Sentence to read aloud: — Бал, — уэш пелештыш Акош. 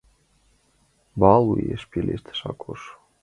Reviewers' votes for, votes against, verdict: 2, 0, accepted